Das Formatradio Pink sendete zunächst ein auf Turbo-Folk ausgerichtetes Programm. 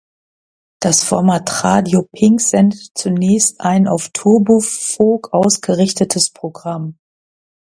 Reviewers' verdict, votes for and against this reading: rejected, 0, 2